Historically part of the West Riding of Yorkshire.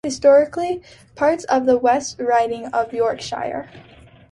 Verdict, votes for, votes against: accepted, 2, 0